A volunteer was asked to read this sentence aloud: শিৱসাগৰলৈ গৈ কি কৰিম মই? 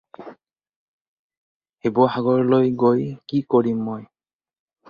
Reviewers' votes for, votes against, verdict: 2, 2, rejected